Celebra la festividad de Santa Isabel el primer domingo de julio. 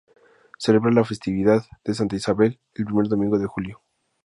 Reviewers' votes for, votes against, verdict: 2, 0, accepted